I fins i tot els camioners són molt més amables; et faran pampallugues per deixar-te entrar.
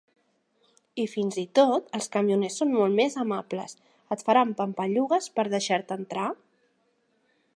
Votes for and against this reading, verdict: 3, 1, accepted